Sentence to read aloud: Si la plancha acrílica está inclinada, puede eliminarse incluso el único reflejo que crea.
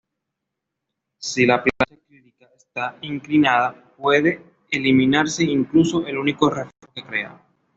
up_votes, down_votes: 0, 2